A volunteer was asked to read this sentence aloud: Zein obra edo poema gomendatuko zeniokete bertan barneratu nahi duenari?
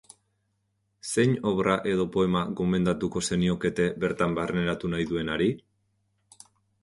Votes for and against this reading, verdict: 2, 0, accepted